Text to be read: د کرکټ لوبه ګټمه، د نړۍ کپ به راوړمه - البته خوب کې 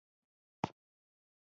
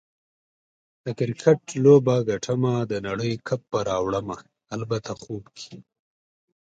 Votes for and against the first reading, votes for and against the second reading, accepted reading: 0, 2, 2, 0, second